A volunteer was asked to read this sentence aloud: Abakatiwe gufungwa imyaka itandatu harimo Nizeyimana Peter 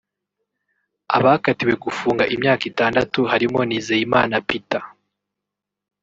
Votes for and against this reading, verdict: 1, 2, rejected